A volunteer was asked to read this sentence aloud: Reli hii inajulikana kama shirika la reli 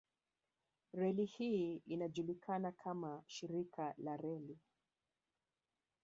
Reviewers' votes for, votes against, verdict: 4, 2, accepted